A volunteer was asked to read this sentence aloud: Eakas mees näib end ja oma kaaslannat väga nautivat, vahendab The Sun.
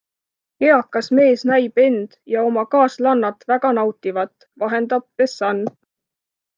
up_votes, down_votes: 2, 0